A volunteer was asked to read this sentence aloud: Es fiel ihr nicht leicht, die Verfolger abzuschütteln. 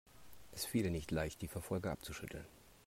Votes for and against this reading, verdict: 2, 0, accepted